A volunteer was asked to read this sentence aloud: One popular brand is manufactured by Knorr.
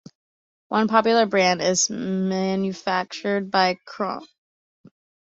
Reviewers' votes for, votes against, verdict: 1, 2, rejected